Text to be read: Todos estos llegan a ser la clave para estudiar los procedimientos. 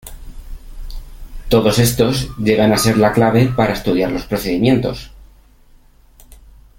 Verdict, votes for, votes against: accepted, 2, 0